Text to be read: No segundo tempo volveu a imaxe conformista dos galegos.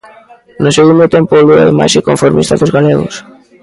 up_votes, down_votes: 1, 2